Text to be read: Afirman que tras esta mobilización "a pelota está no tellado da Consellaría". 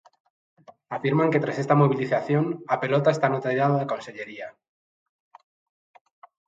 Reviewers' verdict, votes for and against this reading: rejected, 1, 2